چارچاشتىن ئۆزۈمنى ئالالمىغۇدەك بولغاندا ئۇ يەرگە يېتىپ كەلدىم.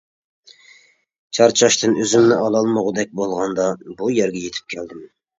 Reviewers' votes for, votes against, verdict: 0, 2, rejected